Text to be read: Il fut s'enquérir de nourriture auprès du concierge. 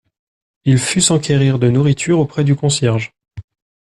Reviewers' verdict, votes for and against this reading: accepted, 2, 0